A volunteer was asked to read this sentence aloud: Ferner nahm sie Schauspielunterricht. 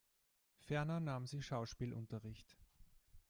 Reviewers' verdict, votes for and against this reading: rejected, 1, 2